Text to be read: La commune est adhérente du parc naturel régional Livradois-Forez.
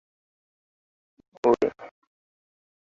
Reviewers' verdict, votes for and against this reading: rejected, 0, 2